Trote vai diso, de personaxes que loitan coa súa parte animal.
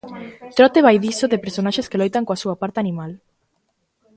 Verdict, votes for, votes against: accepted, 2, 0